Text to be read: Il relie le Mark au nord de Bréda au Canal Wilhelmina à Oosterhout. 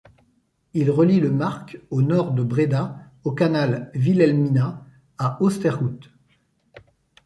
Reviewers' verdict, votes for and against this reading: accepted, 2, 0